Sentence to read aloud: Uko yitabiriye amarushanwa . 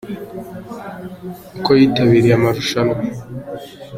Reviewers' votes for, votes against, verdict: 0, 2, rejected